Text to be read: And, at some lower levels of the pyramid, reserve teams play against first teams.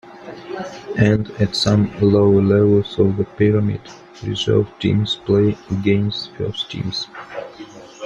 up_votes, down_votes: 0, 2